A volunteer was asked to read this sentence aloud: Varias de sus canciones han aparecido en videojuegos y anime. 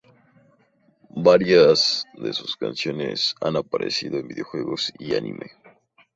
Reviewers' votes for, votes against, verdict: 0, 2, rejected